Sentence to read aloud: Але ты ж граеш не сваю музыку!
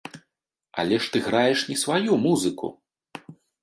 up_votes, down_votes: 1, 2